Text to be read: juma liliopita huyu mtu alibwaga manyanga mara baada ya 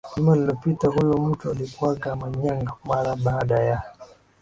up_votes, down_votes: 1, 3